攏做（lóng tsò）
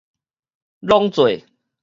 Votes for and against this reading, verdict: 2, 2, rejected